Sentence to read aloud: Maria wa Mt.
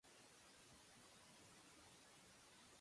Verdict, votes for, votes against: rejected, 0, 2